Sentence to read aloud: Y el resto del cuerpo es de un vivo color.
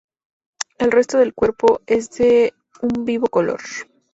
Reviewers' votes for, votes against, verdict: 0, 2, rejected